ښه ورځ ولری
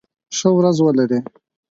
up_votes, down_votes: 4, 0